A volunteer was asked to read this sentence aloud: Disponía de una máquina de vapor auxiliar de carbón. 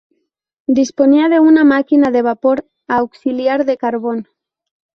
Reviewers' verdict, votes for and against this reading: accepted, 2, 0